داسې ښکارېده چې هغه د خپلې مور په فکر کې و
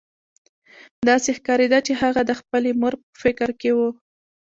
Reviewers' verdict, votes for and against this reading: rejected, 1, 2